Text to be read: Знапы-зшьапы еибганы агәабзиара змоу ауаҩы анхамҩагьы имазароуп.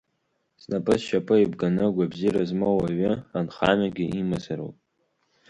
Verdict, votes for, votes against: accepted, 2, 0